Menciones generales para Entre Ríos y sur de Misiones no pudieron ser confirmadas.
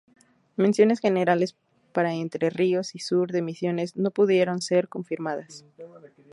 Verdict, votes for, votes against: accepted, 4, 0